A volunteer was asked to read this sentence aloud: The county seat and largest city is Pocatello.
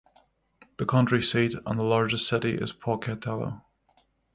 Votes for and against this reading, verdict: 0, 3, rejected